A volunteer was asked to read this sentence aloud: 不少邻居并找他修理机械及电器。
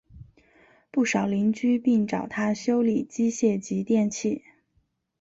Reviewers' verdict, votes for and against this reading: accepted, 6, 0